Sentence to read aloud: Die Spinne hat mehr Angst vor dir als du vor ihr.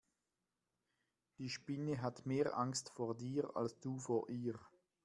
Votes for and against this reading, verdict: 0, 2, rejected